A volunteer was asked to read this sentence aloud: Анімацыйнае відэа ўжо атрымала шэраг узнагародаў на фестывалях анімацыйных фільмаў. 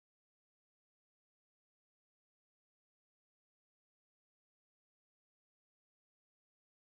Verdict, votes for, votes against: rejected, 0, 2